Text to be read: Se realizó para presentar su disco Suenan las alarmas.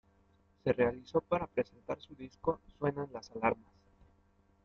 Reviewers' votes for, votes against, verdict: 1, 2, rejected